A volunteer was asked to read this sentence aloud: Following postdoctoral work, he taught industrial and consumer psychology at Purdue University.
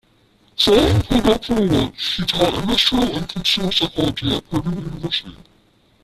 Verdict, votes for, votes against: rejected, 0, 2